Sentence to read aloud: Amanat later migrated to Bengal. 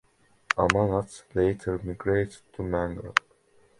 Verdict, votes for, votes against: rejected, 1, 2